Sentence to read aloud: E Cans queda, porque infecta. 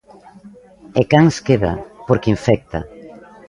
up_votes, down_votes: 0, 2